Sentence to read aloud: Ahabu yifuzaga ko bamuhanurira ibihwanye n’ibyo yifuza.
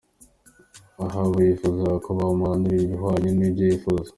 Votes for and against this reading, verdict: 2, 1, accepted